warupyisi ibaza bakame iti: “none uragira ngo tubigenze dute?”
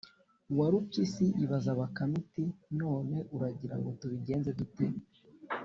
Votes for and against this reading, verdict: 2, 0, accepted